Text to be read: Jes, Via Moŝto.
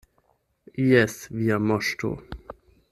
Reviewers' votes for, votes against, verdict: 4, 8, rejected